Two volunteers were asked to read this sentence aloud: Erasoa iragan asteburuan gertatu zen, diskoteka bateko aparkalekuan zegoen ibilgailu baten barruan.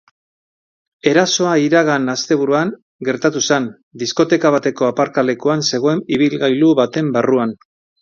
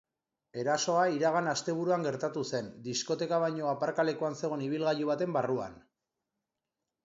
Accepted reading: first